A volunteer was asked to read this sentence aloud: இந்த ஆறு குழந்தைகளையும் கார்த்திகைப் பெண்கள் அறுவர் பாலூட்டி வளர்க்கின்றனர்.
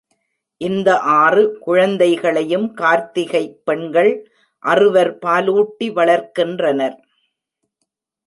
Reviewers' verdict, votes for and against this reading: accepted, 2, 0